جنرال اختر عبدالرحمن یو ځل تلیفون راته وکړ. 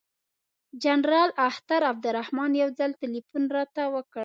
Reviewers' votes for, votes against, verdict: 3, 0, accepted